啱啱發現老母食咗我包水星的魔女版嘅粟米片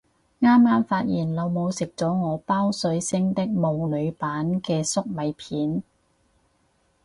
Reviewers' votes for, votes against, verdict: 2, 2, rejected